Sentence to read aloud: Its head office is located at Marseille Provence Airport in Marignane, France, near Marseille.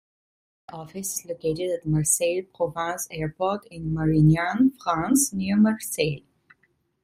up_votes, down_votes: 0, 2